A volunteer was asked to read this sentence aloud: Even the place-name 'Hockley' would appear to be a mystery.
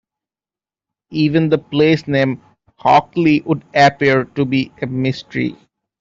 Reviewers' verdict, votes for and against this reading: accepted, 2, 1